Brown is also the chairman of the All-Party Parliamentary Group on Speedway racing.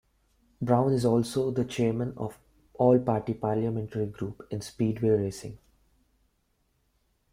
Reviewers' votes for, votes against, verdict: 1, 2, rejected